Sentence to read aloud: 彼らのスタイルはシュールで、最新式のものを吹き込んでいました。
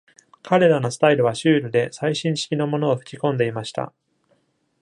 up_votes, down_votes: 2, 0